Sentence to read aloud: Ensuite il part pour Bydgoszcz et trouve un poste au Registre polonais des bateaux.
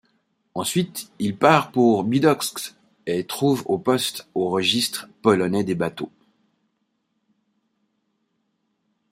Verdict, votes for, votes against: rejected, 2, 3